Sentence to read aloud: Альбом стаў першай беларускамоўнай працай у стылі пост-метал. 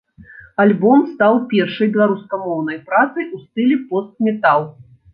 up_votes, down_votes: 2, 0